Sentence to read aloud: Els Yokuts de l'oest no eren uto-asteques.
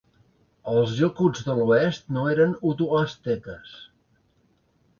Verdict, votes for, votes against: accepted, 2, 0